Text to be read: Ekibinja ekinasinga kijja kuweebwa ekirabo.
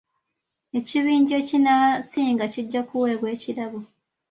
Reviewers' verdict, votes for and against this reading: accepted, 2, 1